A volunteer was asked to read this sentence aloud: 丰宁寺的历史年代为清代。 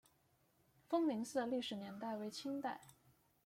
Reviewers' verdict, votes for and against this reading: accepted, 2, 0